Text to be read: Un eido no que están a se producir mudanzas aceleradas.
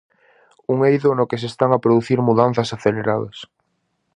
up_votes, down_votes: 2, 2